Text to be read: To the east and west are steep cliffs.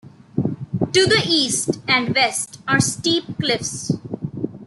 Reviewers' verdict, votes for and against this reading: accepted, 2, 1